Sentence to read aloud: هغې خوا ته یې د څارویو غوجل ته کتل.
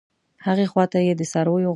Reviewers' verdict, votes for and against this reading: rejected, 1, 2